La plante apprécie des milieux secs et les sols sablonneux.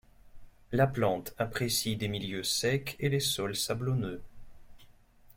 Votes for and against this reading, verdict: 2, 0, accepted